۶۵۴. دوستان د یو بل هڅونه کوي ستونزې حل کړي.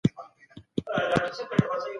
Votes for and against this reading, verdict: 0, 2, rejected